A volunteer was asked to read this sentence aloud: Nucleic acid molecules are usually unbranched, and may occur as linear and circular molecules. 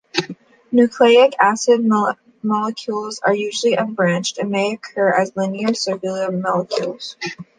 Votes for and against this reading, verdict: 1, 2, rejected